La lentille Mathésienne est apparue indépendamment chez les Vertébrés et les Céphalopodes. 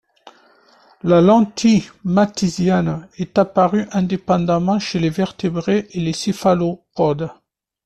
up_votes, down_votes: 2, 0